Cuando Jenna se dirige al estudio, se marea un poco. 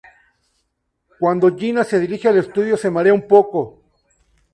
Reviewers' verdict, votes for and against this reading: accepted, 2, 0